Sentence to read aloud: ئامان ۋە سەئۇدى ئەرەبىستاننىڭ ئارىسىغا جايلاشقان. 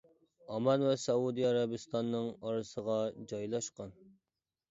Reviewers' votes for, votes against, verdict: 2, 0, accepted